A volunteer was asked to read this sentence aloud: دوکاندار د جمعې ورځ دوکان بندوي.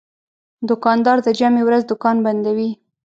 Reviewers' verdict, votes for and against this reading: rejected, 0, 2